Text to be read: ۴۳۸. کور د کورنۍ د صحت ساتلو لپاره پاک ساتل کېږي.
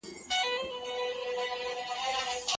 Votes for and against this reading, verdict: 0, 2, rejected